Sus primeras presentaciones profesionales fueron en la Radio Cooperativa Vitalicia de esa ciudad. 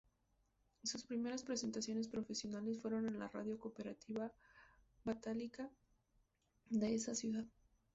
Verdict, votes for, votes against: rejected, 0, 4